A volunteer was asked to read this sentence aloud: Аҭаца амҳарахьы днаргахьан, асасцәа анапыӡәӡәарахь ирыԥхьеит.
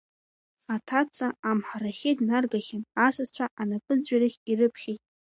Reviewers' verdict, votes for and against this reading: accepted, 2, 0